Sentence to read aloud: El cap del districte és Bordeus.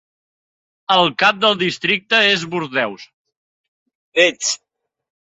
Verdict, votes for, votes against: accepted, 2, 1